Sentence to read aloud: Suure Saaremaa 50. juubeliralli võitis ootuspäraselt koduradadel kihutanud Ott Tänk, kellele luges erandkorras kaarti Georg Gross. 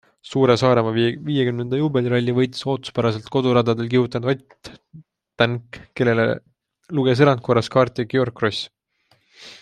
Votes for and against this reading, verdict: 0, 2, rejected